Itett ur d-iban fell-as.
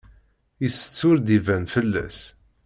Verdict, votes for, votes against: accepted, 2, 0